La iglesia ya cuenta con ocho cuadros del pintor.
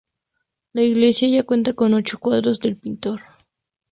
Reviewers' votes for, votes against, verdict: 2, 2, rejected